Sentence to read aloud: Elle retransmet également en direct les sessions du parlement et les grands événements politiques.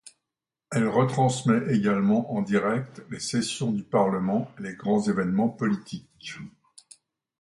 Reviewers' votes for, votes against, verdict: 2, 0, accepted